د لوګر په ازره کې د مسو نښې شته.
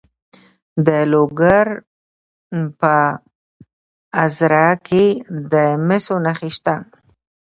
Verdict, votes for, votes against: rejected, 1, 2